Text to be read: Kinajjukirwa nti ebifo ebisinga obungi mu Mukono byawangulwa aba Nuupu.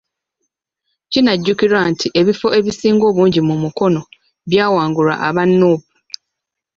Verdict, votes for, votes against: accepted, 2, 0